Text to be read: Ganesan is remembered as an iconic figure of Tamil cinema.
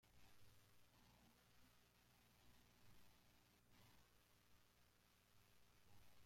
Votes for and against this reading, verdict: 0, 2, rejected